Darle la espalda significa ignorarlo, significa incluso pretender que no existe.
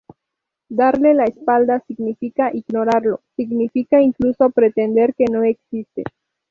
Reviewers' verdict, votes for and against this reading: rejected, 0, 2